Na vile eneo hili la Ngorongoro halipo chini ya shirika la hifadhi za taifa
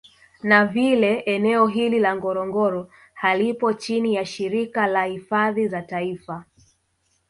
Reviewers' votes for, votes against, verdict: 1, 2, rejected